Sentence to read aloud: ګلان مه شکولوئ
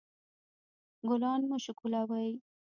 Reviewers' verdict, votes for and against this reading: rejected, 1, 2